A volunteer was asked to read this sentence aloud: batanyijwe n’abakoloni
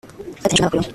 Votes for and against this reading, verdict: 0, 2, rejected